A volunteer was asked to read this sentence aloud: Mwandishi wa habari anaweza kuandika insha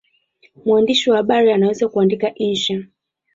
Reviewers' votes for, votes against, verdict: 0, 2, rejected